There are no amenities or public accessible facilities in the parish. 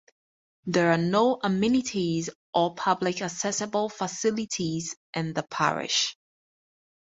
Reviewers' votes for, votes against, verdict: 4, 2, accepted